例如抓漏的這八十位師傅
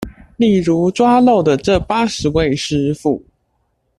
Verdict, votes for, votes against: accepted, 2, 0